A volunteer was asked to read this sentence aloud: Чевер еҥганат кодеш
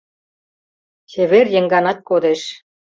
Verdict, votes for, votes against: accepted, 2, 0